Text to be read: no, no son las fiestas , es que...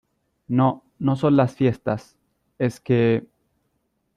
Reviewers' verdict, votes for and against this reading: accepted, 2, 0